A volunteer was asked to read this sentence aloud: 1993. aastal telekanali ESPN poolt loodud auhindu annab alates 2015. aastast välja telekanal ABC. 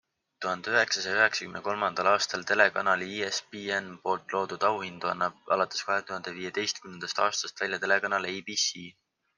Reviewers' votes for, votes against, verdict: 0, 2, rejected